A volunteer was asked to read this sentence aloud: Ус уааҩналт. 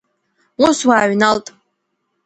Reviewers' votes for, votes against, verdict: 2, 0, accepted